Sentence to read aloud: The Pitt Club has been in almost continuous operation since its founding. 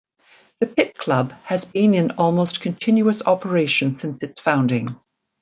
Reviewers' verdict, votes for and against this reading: accepted, 2, 0